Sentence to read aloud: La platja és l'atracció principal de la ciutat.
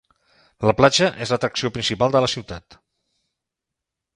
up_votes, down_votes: 4, 0